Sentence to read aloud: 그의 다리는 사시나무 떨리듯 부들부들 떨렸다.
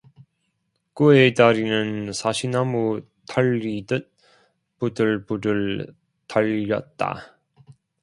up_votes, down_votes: 0, 2